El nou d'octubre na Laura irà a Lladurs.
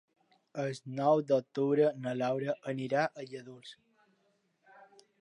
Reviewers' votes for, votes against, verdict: 0, 2, rejected